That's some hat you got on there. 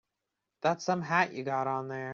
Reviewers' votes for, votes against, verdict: 3, 0, accepted